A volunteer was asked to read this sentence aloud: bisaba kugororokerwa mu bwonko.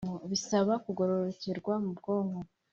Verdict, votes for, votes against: accepted, 2, 0